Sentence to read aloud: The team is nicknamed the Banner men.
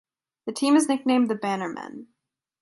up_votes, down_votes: 1, 2